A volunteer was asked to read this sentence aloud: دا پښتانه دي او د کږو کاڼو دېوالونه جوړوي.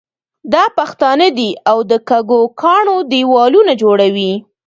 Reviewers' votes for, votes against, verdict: 2, 0, accepted